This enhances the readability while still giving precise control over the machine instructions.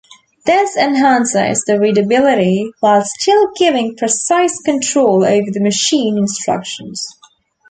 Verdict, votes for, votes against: accepted, 2, 0